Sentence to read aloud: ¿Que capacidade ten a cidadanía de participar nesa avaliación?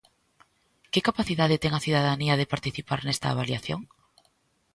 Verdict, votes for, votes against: rejected, 1, 2